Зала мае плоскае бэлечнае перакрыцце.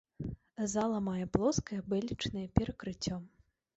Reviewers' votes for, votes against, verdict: 1, 2, rejected